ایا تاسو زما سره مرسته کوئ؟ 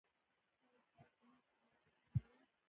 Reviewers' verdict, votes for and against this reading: rejected, 0, 2